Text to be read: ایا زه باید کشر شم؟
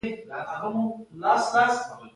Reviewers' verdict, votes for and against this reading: rejected, 0, 2